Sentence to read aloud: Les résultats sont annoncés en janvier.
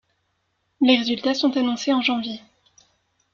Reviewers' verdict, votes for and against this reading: rejected, 1, 2